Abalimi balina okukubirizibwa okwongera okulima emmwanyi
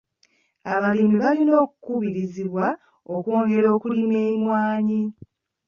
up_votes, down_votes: 2, 1